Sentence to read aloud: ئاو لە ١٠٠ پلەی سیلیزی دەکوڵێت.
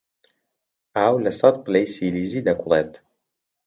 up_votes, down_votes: 0, 2